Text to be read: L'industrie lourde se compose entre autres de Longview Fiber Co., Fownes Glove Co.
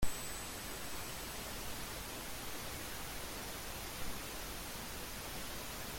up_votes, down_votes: 0, 2